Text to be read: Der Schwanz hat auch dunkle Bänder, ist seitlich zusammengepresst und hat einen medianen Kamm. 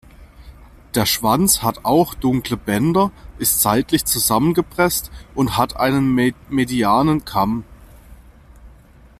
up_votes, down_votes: 0, 2